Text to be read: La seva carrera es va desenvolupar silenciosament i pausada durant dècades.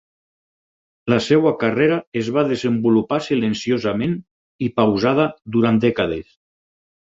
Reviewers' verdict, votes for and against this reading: rejected, 2, 4